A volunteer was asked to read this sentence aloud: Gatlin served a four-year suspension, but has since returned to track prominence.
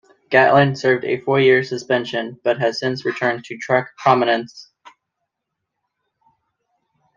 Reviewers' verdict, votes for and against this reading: accepted, 2, 1